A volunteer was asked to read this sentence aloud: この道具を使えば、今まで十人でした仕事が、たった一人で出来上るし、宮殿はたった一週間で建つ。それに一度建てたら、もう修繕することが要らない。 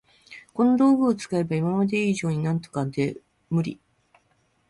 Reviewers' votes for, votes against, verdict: 4, 14, rejected